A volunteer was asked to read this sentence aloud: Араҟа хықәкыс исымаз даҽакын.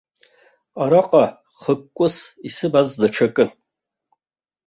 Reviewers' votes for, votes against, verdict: 1, 2, rejected